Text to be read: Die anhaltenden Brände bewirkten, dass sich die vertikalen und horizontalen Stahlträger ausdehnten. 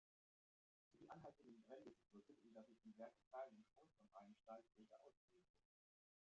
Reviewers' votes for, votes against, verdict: 0, 2, rejected